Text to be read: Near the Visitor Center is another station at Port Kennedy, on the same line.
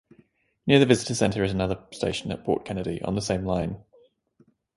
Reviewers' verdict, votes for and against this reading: accepted, 2, 0